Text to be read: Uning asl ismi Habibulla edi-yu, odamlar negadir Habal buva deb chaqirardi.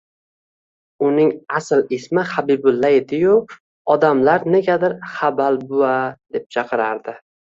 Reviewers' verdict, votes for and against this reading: accepted, 2, 0